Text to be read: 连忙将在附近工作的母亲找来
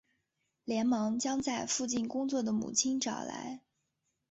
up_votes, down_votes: 2, 1